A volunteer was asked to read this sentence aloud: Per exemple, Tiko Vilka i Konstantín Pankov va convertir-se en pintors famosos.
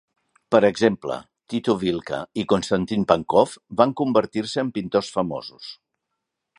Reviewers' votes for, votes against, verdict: 2, 0, accepted